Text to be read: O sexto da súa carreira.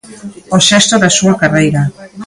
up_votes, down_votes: 0, 2